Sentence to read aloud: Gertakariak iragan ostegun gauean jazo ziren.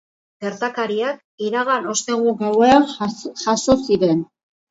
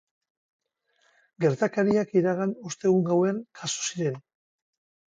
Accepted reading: second